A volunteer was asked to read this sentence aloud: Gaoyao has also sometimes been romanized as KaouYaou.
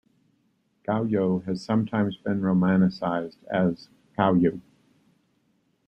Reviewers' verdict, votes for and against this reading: rejected, 2, 3